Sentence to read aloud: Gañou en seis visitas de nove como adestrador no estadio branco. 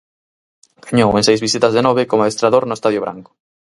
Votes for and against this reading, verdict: 0, 4, rejected